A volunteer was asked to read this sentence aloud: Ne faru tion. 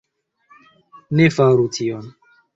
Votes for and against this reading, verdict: 2, 1, accepted